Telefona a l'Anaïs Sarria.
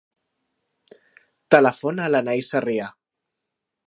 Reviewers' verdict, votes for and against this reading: rejected, 1, 2